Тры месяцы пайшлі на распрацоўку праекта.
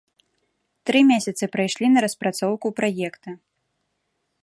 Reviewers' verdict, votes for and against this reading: rejected, 1, 2